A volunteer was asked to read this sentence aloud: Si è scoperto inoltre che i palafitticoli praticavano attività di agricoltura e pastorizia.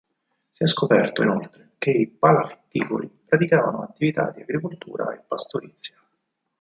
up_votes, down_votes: 4, 0